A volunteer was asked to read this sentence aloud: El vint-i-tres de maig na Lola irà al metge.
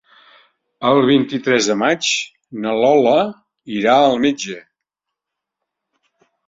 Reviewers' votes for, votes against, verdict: 4, 0, accepted